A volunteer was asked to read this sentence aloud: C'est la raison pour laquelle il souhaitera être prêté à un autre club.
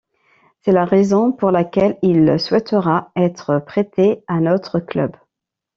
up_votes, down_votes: 0, 2